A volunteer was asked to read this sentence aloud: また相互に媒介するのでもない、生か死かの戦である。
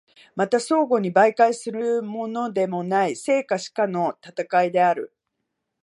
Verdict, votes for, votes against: rejected, 0, 2